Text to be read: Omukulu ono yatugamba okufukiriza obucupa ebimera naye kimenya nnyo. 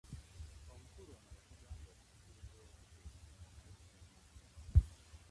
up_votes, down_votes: 1, 2